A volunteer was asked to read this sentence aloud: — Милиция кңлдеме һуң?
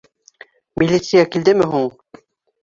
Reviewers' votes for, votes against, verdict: 6, 3, accepted